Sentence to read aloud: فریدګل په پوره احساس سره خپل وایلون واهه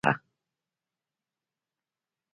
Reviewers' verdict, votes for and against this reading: rejected, 1, 2